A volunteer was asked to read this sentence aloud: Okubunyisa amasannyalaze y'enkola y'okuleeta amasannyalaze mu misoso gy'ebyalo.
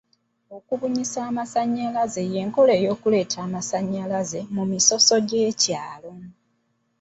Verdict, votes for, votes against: rejected, 0, 2